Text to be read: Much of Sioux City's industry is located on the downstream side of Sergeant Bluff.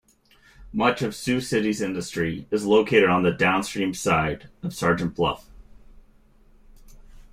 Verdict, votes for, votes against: accepted, 2, 0